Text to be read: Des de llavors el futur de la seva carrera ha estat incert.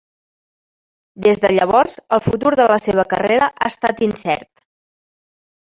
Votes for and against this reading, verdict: 1, 2, rejected